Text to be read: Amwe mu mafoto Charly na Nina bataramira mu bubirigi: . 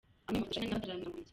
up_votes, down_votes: 0, 2